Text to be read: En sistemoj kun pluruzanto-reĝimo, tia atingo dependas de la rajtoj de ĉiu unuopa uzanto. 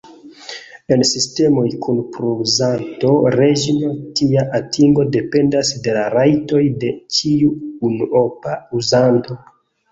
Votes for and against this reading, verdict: 1, 2, rejected